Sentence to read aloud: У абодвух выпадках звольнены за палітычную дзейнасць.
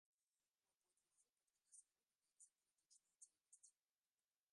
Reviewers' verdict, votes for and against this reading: rejected, 0, 2